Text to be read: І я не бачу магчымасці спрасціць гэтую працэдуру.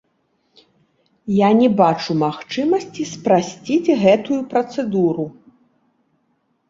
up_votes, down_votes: 2, 0